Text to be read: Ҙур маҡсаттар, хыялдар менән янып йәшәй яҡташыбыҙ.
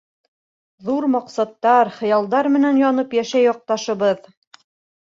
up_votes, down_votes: 2, 0